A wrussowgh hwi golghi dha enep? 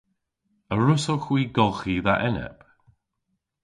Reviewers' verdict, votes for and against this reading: accepted, 2, 0